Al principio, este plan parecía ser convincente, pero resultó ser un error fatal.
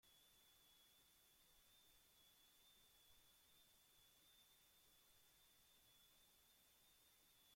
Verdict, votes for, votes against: rejected, 0, 2